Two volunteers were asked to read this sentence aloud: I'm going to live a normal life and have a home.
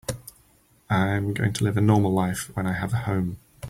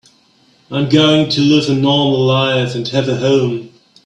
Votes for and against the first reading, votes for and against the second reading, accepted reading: 0, 4, 3, 0, second